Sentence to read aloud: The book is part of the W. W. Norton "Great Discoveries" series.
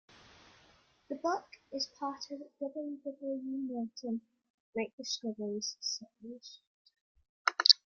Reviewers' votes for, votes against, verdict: 2, 1, accepted